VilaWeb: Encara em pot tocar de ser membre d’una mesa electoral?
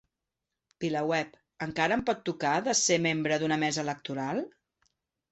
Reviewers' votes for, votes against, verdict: 2, 0, accepted